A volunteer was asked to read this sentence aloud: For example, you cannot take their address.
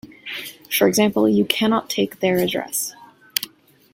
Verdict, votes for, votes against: accepted, 2, 0